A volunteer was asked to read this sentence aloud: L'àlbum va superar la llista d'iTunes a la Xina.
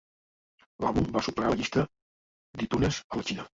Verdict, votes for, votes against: rejected, 1, 2